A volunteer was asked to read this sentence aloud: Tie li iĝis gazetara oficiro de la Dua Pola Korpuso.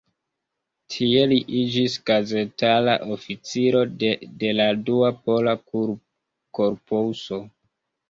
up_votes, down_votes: 2, 1